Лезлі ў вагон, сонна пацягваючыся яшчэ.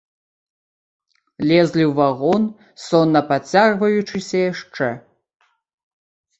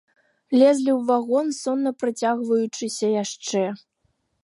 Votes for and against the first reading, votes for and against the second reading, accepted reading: 2, 1, 0, 3, first